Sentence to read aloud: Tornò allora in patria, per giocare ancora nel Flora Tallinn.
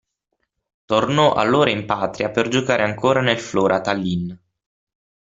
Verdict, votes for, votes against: rejected, 0, 6